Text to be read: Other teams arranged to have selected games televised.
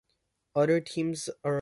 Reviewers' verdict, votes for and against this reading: rejected, 0, 2